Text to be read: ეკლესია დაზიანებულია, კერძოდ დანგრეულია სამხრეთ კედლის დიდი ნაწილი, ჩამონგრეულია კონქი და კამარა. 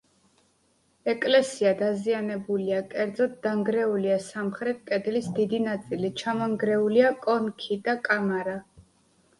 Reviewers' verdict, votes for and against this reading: accepted, 3, 0